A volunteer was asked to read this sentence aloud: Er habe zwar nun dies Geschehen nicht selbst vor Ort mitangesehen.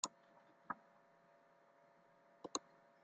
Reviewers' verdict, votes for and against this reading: rejected, 0, 2